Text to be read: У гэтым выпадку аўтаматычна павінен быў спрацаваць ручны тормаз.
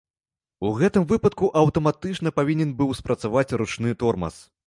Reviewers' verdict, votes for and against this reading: accepted, 2, 0